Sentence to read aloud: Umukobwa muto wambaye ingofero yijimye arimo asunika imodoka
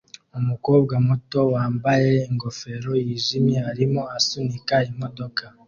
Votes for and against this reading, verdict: 2, 0, accepted